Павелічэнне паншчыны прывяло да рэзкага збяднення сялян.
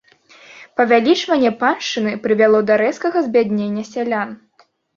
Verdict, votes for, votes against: rejected, 0, 2